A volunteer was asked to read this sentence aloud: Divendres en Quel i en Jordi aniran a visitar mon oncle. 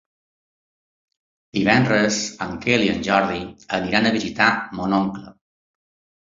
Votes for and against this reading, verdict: 3, 0, accepted